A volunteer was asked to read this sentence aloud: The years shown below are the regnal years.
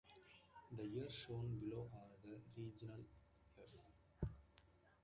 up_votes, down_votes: 0, 2